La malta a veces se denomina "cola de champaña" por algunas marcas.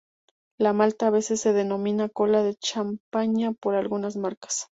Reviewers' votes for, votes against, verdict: 2, 0, accepted